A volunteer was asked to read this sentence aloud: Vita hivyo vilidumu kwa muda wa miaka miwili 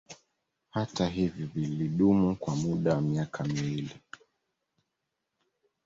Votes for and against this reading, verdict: 0, 2, rejected